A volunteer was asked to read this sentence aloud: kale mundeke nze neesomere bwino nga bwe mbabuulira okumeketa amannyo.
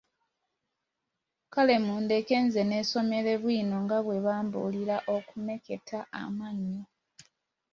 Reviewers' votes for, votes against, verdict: 2, 1, accepted